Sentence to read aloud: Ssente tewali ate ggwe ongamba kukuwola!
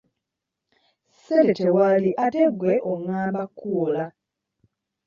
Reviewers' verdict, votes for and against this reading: rejected, 0, 2